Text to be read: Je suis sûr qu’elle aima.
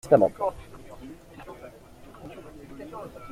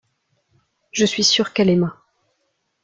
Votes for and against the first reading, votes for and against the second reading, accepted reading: 0, 2, 2, 0, second